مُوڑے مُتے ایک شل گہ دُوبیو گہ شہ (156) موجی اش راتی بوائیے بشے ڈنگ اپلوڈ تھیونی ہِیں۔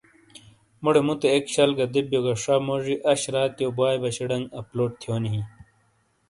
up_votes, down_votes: 0, 2